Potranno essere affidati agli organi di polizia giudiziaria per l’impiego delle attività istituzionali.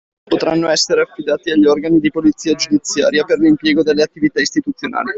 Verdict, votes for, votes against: accepted, 2, 0